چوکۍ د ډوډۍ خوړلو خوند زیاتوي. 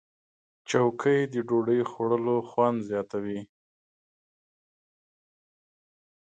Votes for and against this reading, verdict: 2, 0, accepted